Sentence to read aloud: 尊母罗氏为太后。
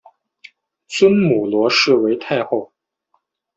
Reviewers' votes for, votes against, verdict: 2, 0, accepted